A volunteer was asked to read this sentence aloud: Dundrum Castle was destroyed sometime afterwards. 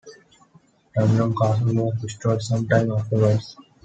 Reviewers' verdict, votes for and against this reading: accepted, 2, 0